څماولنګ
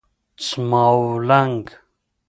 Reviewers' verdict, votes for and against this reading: accepted, 2, 0